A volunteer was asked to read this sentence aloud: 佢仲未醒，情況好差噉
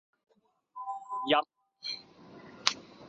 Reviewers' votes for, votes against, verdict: 0, 2, rejected